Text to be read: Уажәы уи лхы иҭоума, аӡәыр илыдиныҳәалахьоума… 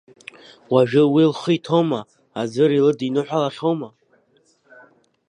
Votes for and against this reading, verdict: 2, 0, accepted